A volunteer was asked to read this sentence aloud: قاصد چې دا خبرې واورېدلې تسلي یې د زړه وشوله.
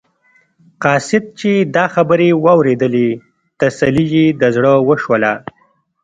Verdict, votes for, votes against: rejected, 0, 2